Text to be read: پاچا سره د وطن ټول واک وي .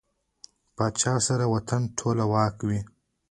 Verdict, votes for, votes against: rejected, 1, 2